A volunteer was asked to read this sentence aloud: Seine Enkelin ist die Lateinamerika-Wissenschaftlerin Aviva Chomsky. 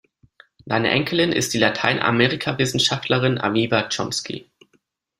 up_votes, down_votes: 2, 0